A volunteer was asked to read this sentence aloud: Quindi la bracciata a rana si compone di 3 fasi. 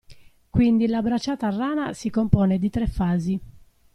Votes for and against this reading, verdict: 0, 2, rejected